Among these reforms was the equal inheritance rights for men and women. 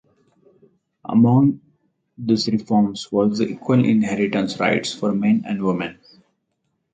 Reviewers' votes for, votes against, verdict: 4, 2, accepted